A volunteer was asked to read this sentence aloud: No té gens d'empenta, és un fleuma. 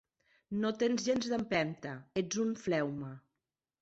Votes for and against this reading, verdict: 1, 2, rejected